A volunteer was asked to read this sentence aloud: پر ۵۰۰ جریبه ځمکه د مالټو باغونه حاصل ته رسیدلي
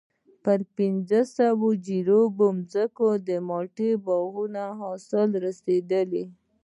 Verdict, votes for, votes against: rejected, 0, 2